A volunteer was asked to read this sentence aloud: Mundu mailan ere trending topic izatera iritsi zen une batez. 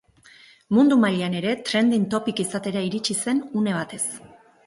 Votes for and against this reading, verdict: 2, 2, rejected